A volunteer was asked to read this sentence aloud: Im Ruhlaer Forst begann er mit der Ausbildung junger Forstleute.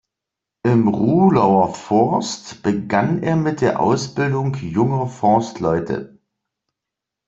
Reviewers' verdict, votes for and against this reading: rejected, 1, 2